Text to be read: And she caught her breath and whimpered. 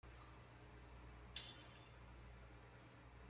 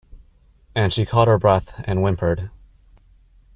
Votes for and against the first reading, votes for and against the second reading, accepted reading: 0, 2, 2, 0, second